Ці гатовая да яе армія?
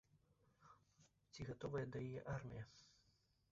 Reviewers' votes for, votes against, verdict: 1, 3, rejected